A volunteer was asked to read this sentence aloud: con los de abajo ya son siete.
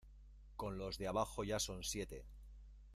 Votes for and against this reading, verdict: 0, 2, rejected